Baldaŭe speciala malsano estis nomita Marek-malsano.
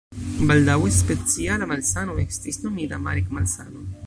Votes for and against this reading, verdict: 1, 2, rejected